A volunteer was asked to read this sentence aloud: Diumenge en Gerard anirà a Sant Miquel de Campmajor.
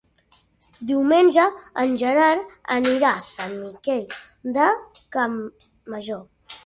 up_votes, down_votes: 3, 0